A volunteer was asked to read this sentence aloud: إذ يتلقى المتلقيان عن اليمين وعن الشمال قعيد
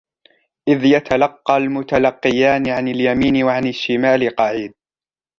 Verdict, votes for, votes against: accepted, 2, 0